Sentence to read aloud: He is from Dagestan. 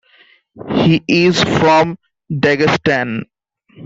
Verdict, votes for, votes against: accepted, 2, 0